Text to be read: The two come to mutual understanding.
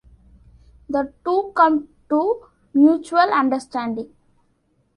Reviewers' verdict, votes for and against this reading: accepted, 2, 0